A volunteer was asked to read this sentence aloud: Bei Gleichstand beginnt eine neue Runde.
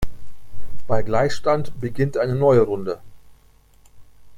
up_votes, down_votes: 3, 0